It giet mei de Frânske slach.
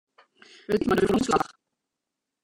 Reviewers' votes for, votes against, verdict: 0, 2, rejected